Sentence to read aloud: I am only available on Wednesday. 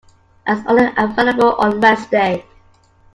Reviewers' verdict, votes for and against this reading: accepted, 2, 0